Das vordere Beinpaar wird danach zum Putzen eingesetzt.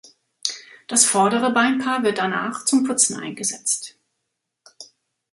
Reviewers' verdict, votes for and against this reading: accepted, 2, 0